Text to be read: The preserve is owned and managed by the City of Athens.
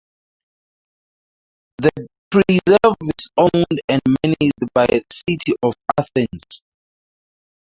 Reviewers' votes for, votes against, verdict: 0, 4, rejected